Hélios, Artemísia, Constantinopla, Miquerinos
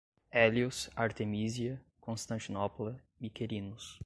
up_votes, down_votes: 2, 0